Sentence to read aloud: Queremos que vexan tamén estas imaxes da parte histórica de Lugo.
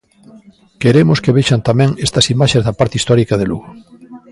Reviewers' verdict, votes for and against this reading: rejected, 1, 2